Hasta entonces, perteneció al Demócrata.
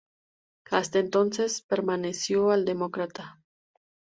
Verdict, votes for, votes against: rejected, 0, 2